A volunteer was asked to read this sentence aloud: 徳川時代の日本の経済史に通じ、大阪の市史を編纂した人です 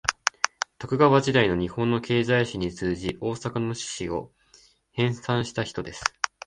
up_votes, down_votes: 5, 0